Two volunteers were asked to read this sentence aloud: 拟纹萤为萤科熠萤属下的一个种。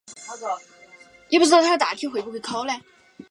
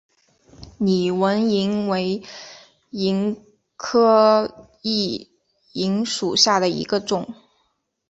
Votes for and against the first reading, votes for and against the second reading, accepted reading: 0, 2, 3, 0, second